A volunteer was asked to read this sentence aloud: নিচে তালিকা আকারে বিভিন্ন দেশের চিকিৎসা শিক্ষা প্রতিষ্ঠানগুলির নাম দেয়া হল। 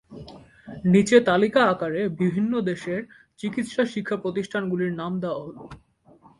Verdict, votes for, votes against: accepted, 2, 0